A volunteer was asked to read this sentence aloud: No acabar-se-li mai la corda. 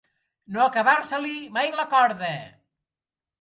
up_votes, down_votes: 2, 1